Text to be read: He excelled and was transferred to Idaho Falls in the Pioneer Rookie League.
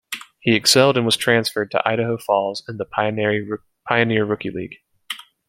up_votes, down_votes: 0, 2